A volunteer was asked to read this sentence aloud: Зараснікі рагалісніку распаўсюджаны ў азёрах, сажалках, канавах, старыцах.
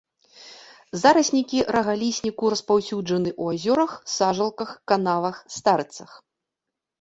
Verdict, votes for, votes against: accepted, 3, 0